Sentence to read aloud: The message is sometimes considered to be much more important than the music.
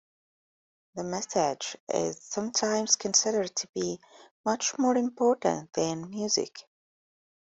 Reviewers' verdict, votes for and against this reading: rejected, 0, 2